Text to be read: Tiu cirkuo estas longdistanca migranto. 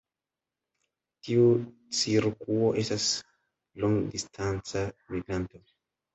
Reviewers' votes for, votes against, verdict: 0, 2, rejected